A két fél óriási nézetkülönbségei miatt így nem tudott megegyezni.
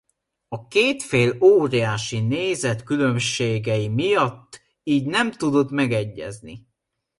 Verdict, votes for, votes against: accepted, 2, 0